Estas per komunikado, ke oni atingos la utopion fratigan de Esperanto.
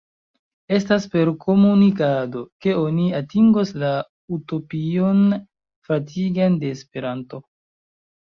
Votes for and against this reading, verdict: 1, 2, rejected